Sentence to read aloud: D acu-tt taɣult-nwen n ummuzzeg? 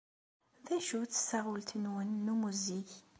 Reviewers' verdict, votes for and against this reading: accepted, 2, 0